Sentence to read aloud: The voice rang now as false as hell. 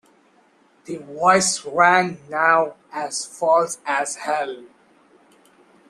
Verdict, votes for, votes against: rejected, 1, 2